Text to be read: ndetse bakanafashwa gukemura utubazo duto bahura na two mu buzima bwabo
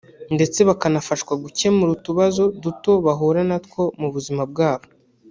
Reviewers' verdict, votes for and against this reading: rejected, 1, 2